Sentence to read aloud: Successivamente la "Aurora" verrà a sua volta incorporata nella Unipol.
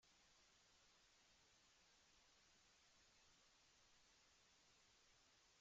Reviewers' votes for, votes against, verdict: 0, 2, rejected